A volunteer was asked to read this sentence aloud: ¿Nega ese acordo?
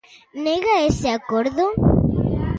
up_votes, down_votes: 0, 2